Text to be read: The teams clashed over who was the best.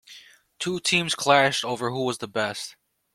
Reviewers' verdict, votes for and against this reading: rejected, 1, 2